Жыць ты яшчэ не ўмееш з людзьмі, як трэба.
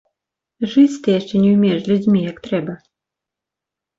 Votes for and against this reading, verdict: 2, 1, accepted